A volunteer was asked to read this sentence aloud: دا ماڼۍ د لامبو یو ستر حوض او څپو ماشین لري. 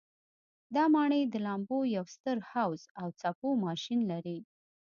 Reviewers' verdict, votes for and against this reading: accepted, 2, 0